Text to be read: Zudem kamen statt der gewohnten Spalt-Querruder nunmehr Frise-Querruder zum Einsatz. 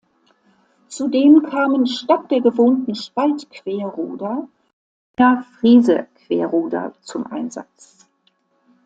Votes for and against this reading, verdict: 0, 2, rejected